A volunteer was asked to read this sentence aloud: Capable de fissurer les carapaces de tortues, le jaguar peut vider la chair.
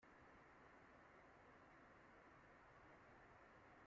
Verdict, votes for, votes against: rejected, 1, 2